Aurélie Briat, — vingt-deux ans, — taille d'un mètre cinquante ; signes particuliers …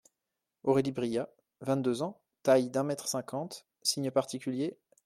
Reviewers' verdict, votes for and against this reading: accepted, 2, 0